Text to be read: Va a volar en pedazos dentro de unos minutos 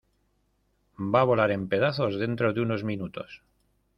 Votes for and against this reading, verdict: 2, 0, accepted